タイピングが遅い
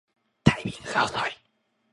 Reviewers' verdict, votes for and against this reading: rejected, 1, 2